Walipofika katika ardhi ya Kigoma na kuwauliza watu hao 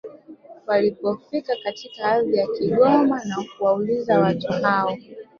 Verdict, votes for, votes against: rejected, 1, 2